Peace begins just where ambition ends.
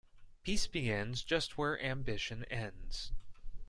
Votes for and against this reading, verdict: 2, 0, accepted